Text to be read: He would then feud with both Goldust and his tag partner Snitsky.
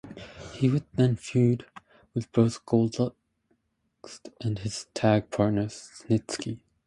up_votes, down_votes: 0, 2